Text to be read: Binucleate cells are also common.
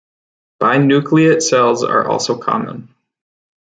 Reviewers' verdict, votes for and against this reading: accepted, 2, 0